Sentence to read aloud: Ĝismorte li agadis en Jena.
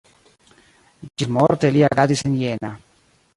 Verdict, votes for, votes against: rejected, 1, 2